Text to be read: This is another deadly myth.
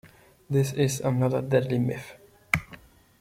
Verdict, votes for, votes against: accepted, 2, 0